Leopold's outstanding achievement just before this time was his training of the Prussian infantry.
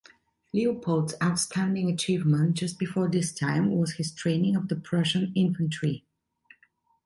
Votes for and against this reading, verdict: 2, 0, accepted